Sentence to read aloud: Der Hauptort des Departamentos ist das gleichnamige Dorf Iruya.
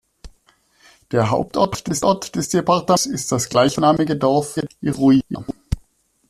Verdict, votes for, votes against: rejected, 0, 2